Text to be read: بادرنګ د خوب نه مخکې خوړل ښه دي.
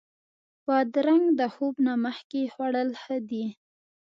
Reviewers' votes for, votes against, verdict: 1, 2, rejected